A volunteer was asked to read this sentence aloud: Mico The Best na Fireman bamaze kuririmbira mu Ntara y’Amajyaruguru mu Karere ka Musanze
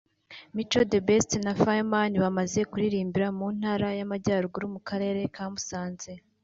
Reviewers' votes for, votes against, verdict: 3, 0, accepted